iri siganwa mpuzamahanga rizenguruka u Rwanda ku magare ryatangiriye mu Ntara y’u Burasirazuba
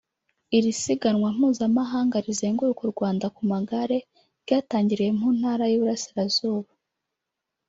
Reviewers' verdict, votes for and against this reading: rejected, 1, 2